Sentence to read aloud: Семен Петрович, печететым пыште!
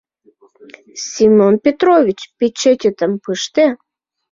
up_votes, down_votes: 2, 0